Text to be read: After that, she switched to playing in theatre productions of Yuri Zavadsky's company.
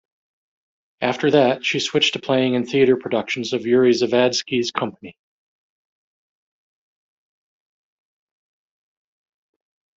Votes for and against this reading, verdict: 1, 2, rejected